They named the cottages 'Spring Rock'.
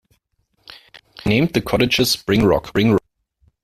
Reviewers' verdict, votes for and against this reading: rejected, 1, 2